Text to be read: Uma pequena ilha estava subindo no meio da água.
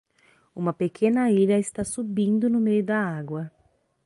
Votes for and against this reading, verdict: 3, 3, rejected